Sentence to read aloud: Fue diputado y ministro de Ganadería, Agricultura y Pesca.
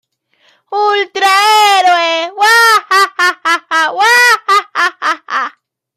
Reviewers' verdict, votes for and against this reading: rejected, 0, 2